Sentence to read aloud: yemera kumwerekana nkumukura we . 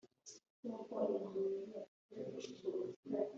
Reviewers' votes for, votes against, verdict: 0, 3, rejected